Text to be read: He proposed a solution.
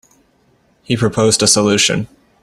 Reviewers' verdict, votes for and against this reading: accepted, 2, 0